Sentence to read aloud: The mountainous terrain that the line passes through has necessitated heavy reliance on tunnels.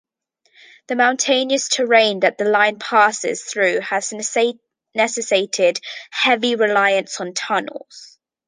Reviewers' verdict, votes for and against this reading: rejected, 0, 2